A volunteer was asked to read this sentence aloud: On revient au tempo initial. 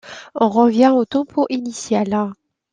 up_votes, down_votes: 2, 0